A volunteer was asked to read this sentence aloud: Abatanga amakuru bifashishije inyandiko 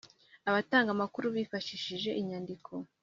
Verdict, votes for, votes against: accepted, 2, 0